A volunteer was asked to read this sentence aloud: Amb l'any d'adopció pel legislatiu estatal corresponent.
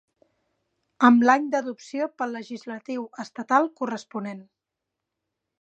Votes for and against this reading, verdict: 4, 0, accepted